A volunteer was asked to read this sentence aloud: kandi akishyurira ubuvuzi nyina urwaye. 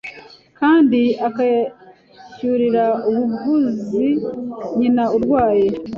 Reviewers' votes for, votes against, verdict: 1, 2, rejected